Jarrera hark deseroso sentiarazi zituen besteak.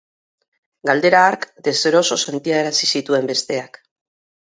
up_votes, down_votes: 0, 2